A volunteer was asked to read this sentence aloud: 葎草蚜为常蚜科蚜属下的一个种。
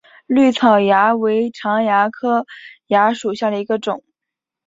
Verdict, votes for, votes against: accepted, 3, 0